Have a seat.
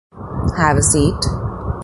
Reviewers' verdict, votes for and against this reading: accepted, 2, 0